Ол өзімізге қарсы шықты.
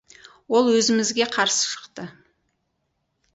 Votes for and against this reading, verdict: 2, 2, rejected